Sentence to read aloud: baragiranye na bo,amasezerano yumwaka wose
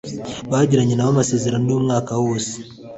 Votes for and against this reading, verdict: 2, 0, accepted